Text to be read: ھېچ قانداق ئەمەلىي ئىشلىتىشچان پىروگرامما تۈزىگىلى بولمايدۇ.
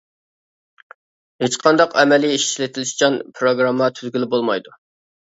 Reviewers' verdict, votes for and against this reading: accepted, 2, 1